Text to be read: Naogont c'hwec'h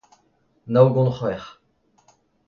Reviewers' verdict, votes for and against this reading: accepted, 2, 0